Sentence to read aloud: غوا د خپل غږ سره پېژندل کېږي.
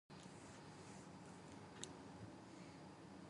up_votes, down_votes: 0, 2